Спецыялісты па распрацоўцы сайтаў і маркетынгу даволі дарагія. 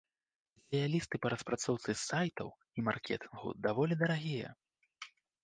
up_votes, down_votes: 1, 2